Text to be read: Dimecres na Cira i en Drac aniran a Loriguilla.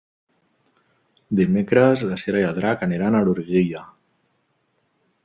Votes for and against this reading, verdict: 0, 2, rejected